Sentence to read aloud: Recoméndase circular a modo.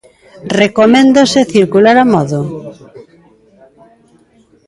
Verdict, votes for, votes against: accepted, 2, 1